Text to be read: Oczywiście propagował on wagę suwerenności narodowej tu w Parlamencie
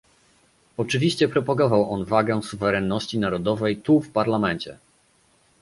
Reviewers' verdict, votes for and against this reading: accepted, 2, 0